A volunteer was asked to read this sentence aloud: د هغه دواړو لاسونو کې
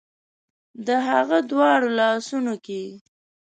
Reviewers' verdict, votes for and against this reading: accepted, 2, 0